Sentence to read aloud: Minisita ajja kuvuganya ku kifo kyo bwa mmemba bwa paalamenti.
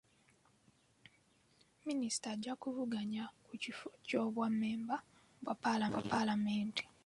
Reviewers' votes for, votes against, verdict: 2, 0, accepted